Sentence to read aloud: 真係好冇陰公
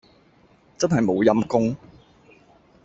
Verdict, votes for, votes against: rejected, 0, 2